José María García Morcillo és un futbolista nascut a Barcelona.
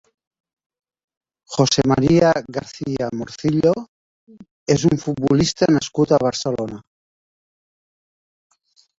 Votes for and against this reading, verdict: 1, 2, rejected